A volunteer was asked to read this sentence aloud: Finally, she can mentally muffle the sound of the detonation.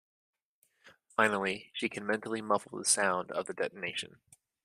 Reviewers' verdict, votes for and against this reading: accepted, 2, 0